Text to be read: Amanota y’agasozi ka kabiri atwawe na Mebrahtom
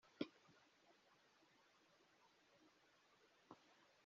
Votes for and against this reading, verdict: 0, 2, rejected